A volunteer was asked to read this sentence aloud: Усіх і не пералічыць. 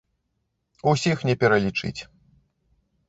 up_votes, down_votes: 1, 2